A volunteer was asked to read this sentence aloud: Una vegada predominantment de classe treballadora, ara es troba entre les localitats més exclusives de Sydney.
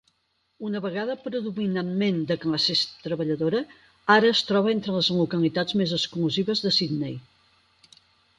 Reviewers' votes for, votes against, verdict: 2, 4, rejected